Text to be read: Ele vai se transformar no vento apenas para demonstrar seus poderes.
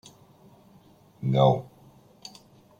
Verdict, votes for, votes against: rejected, 0, 2